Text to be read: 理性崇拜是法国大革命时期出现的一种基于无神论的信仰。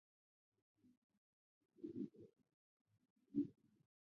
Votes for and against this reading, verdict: 0, 2, rejected